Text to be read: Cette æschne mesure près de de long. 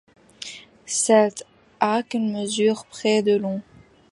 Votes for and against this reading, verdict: 1, 2, rejected